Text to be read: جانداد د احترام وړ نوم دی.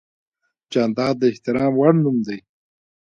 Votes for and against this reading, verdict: 1, 2, rejected